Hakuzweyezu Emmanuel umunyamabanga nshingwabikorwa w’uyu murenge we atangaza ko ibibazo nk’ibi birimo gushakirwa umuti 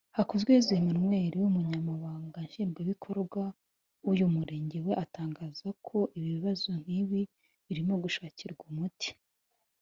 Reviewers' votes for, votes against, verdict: 2, 0, accepted